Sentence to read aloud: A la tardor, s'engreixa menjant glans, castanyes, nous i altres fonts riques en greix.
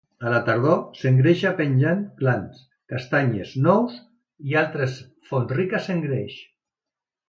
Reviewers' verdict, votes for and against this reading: accepted, 2, 1